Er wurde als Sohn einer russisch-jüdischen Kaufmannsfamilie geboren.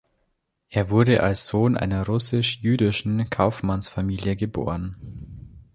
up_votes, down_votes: 2, 0